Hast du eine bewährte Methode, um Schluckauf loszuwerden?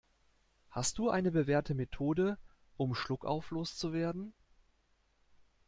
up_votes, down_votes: 2, 0